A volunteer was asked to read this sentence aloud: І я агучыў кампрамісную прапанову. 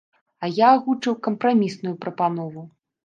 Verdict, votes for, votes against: rejected, 0, 2